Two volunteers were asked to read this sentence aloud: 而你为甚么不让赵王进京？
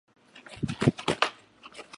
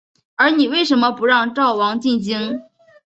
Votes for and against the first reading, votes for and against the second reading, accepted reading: 0, 2, 8, 0, second